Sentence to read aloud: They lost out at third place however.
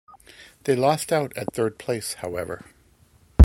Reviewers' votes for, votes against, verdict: 2, 0, accepted